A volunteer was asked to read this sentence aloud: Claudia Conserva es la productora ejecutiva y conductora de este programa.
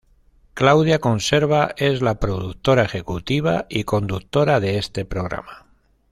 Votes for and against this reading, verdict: 2, 0, accepted